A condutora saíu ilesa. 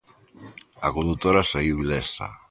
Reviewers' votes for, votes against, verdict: 2, 0, accepted